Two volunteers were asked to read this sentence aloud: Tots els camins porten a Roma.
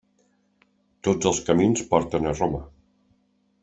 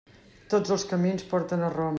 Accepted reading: first